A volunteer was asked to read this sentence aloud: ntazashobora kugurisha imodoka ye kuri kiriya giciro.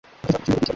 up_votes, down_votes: 0, 2